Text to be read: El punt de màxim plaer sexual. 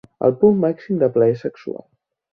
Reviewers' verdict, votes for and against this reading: rejected, 1, 2